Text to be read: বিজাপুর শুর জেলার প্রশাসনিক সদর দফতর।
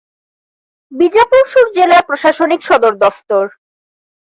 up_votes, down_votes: 2, 0